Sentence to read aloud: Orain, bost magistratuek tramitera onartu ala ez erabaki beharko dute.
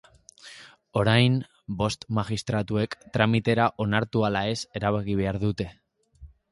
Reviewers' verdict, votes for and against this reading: rejected, 0, 2